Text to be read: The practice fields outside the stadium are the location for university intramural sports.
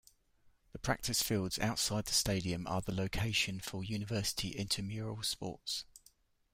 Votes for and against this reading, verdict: 0, 2, rejected